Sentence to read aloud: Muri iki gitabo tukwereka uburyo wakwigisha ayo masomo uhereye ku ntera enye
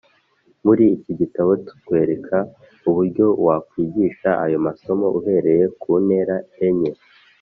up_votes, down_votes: 2, 0